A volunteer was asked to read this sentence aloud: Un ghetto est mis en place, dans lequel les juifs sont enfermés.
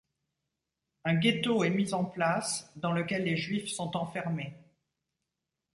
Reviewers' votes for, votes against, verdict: 2, 0, accepted